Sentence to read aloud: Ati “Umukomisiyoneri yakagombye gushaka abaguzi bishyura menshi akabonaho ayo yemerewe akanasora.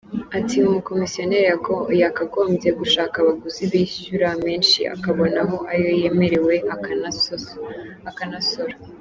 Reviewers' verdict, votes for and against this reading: rejected, 1, 2